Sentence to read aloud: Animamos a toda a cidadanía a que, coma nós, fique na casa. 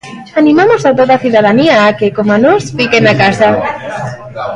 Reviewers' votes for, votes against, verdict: 1, 2, rejected